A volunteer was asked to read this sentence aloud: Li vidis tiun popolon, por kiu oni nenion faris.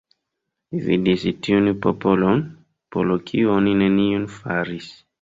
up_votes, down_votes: 1, 2